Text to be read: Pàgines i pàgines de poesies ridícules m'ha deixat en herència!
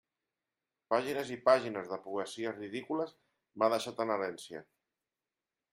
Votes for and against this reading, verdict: 2, 0, accepted